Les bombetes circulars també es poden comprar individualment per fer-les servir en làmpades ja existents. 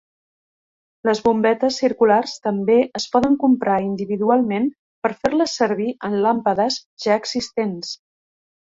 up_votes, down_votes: 3, 0